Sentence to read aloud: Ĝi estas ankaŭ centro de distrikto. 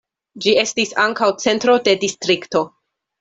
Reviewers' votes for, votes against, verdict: 0, 2, rejected